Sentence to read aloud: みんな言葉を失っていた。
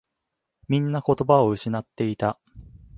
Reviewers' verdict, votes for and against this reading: accepted, 2, 0